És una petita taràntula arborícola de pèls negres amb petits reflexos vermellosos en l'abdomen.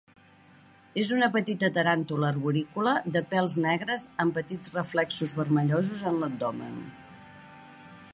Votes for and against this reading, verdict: 2, 1, accepted